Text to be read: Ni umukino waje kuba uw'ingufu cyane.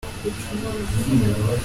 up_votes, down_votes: 0, 2